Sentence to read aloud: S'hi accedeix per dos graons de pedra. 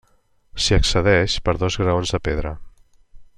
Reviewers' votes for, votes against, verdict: 3, 0, accepted